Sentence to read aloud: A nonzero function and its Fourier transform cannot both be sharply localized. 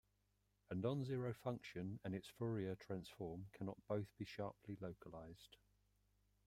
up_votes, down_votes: 2, 1